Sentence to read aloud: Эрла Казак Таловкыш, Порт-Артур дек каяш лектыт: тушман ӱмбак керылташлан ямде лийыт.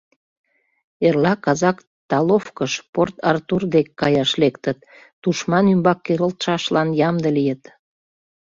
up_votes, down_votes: 0, 2